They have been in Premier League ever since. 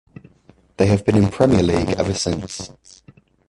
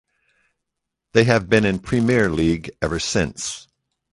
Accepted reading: second